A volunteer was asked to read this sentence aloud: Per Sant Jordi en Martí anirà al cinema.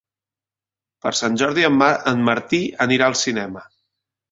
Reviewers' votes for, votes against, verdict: 0, 3, rejected